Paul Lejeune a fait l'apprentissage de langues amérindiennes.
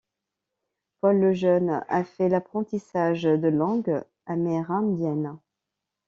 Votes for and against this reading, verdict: 2, 0, accepted